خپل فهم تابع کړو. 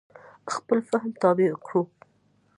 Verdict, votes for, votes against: accepted, 2, 0